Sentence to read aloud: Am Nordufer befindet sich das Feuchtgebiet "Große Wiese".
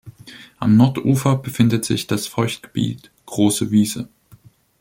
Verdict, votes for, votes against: accepted, 2, 0